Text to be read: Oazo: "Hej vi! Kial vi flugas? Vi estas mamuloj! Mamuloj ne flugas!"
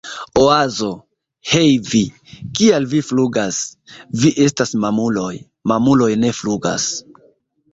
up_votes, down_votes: 0, 2